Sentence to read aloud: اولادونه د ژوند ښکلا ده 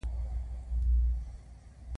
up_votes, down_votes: 2, 1